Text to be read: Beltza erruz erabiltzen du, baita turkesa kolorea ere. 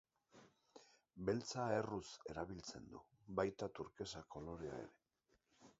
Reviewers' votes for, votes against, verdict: 1, 2, rejected